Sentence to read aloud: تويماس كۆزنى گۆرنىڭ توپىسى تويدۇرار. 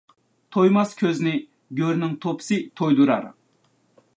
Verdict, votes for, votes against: accepted, 2, 0